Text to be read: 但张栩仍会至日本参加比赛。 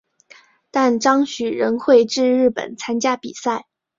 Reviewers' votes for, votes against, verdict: 2, 0, accepted